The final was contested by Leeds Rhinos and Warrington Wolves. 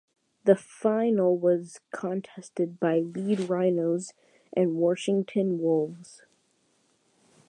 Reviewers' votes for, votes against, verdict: 0, 2, rejected